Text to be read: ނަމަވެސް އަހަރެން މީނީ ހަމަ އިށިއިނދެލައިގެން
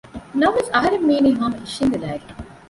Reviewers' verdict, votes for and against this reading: rejected, 0, 2